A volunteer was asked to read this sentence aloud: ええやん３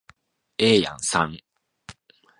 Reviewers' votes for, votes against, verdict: 0, 2, rejected